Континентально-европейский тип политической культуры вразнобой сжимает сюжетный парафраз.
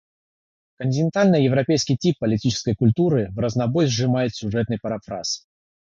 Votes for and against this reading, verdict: 0, 3, rejected